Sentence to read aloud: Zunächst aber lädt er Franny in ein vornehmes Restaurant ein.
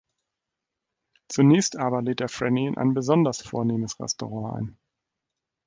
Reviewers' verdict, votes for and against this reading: rejected, 0, 3